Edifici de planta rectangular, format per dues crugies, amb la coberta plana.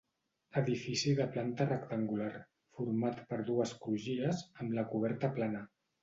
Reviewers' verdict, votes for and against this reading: accepted, 2, 0